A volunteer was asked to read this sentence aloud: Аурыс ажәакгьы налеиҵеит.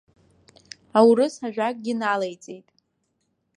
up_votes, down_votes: 1, 2